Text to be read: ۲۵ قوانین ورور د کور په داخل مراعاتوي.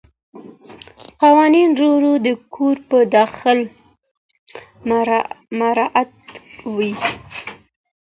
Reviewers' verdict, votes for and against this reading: rejected, 0, 2